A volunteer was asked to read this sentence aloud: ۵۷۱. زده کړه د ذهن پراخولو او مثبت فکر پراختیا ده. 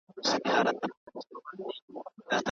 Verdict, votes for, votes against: rejected, 0, 2